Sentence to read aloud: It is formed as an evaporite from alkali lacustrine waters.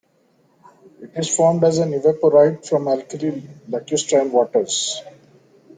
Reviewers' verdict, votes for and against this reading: rejected, 0, 2